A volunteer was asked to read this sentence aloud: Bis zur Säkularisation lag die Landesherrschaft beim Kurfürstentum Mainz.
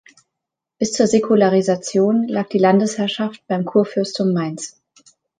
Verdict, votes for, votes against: rejected, 1, 2